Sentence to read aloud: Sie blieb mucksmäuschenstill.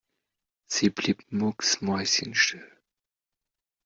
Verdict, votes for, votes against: accepted, 2, 0